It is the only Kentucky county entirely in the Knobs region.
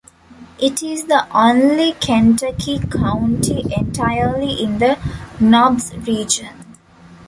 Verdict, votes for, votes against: accepted, 2, 0